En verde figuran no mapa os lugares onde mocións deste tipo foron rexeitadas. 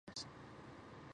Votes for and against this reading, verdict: 0, 4, rejected